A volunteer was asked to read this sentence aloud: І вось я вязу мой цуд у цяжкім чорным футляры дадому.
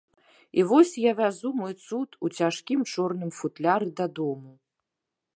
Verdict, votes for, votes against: accepted, 2, 0